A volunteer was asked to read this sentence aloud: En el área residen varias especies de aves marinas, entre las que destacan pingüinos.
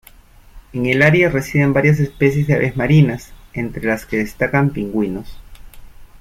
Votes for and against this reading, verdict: 2, 0, accepted